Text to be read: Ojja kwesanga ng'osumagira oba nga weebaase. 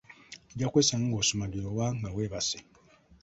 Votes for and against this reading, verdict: 2, 1, accepted